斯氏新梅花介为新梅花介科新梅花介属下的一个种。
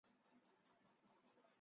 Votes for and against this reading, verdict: 0, 6, rejected